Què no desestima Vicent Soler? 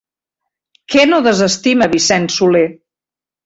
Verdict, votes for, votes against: accepted, 3, 0